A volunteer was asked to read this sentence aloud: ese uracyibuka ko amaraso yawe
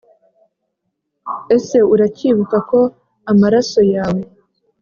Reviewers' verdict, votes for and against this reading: accepted, 2, 0